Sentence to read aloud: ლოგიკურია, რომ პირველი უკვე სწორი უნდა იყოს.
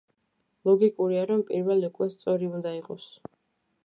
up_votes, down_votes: 2, 0